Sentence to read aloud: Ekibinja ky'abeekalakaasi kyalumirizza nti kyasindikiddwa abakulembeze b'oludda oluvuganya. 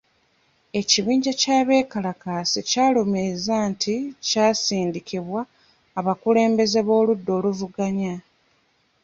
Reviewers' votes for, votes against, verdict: 0, 2, rejected